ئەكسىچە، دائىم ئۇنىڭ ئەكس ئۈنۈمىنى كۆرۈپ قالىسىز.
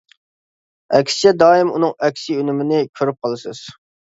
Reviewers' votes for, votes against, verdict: 2, 0, accepted